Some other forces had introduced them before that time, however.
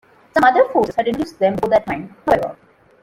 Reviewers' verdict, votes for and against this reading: rejected, 0, 2